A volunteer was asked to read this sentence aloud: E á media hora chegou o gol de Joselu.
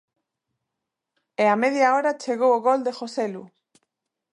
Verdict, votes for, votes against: accepted, 2, 0